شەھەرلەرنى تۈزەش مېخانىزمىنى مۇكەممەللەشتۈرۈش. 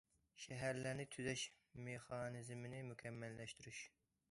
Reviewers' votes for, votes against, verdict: 2, 0, accepted